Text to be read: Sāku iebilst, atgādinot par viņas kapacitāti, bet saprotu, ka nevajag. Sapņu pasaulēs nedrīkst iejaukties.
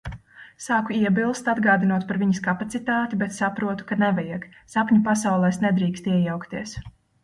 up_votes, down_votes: 2, 0